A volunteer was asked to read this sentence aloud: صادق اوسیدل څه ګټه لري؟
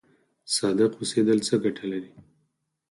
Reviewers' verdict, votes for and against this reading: accepted, 4, 0